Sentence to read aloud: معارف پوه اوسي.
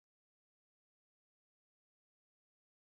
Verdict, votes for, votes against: rejected, 1, 2